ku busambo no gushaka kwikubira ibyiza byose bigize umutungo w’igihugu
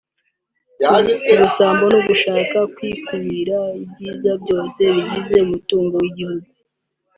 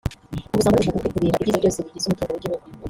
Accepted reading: first